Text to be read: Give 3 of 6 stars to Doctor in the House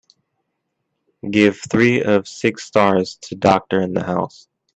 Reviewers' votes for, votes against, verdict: 0, 2, rejected